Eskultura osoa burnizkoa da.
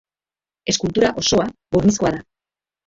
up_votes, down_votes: 2, 0